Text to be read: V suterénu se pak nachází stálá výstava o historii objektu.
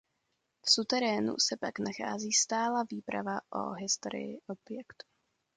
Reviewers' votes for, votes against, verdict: 0, 2, rejected